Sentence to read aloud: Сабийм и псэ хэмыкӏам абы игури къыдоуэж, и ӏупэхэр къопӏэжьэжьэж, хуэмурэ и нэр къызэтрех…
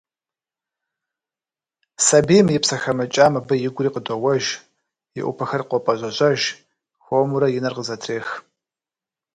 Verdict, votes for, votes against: accepted, 2, 0